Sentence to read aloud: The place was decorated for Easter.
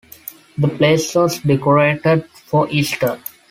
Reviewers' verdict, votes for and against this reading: accepted, 2, 0